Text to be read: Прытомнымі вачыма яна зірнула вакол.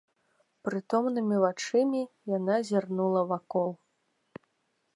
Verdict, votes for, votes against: rejected, 1, 2